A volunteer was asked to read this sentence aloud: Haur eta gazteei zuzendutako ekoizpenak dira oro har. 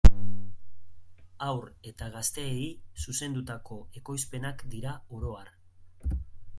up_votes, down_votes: 2, 0